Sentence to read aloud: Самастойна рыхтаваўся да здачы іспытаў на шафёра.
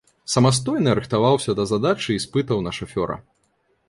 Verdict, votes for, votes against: rejected, 1, 2